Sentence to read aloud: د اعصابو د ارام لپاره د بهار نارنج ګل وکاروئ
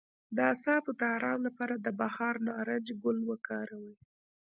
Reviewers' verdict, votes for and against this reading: rejected, 0, 2